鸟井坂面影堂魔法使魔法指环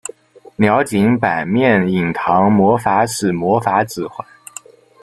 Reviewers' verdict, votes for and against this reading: rejected, 1, 2